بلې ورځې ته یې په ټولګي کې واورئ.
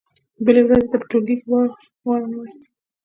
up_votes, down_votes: 0, 2